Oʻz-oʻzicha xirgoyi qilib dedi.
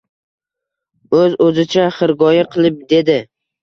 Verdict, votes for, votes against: accepted, 2, 0